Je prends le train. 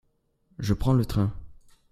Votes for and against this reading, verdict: 2, 0, accepted